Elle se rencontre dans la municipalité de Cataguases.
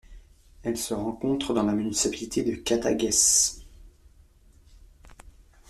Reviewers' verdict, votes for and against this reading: rejected, 1, 2